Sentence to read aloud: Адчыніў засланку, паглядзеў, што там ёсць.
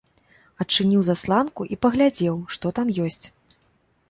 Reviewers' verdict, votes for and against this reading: rejected, 0, 2